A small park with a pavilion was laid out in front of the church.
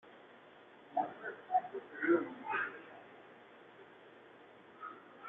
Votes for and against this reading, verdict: 0, 2, rejected